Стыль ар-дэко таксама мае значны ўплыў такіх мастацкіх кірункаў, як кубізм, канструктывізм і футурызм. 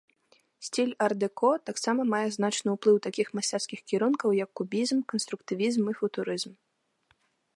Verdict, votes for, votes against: rejected, 0, 2